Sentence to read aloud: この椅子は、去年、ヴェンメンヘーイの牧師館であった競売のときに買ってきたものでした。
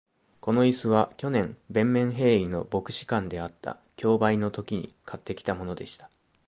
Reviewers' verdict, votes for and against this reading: accepted, 2, 0